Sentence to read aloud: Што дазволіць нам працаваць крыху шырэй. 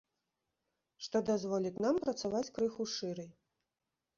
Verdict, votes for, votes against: rejected, 1, 2